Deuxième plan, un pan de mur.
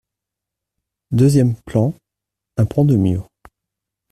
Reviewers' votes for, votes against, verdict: 0, 2, rejected